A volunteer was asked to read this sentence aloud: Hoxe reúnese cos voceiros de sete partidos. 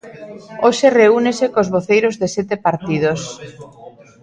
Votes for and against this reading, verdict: 0, 2, rejected